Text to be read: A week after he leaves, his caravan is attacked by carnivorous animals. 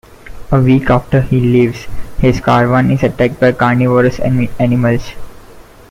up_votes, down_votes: 0, 2